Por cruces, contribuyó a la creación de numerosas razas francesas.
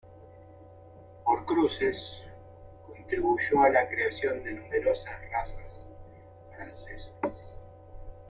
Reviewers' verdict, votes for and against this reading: rejected, 1, 2